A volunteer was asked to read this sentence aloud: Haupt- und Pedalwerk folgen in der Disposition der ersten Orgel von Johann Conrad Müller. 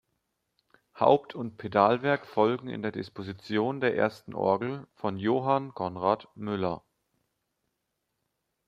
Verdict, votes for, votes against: accepted, 2, 0